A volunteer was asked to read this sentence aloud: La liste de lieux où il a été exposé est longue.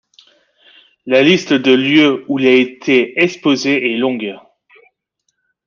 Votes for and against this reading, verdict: 2, 1, accepted